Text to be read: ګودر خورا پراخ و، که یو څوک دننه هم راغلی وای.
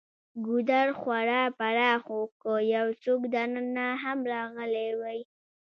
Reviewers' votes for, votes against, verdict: 1, 2, rejected